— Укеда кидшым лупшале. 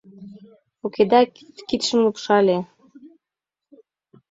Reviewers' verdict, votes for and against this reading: rejected, 1, 3